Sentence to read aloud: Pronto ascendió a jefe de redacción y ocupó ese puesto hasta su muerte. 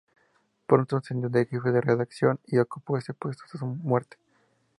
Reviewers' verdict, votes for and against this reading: accepted, 2, 0